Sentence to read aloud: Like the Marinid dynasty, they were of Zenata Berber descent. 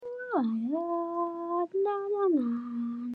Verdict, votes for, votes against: rejected, 0, 2